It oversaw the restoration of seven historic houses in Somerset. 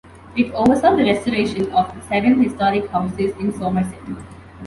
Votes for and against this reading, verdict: 2, 0, accepted